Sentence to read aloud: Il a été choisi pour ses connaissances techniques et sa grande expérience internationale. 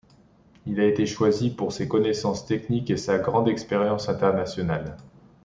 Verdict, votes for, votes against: accepted, 2, 0